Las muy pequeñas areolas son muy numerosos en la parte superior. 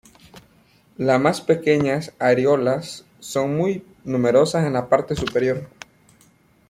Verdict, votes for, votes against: rejected, 0, 2